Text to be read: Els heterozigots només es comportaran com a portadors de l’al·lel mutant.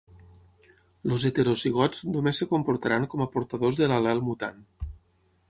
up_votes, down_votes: 0, 6